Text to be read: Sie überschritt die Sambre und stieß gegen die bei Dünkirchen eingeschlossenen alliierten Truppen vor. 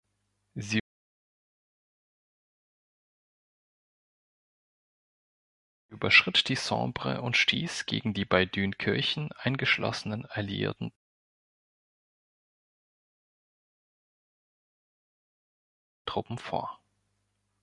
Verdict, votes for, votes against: rejected, 0, 2